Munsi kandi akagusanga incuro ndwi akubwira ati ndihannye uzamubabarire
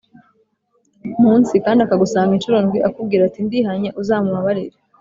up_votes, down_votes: 2, 0